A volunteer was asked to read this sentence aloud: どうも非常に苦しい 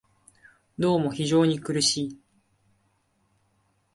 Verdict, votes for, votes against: accepted, 2, 0